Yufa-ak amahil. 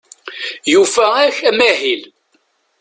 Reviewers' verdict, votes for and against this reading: accepted, 2, 0